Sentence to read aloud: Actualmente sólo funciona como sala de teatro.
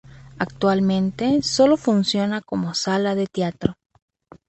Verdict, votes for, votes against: rejected, 0, 2